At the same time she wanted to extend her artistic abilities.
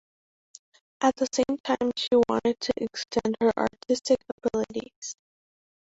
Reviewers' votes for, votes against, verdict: 0, 2, rejected